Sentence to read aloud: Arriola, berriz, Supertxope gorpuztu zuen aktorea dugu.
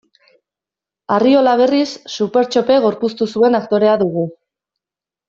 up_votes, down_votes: 2, 0